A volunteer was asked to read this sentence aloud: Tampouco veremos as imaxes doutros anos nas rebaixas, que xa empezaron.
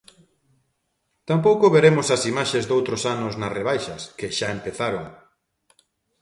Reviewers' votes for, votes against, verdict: 2, 0, accepted